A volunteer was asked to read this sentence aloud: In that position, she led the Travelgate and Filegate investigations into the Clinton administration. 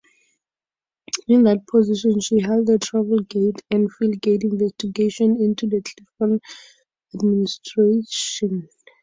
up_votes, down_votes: 4, 2